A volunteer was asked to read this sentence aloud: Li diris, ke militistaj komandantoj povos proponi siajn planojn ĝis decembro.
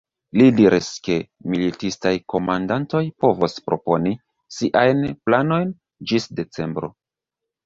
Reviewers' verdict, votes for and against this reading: rejected, 0, 2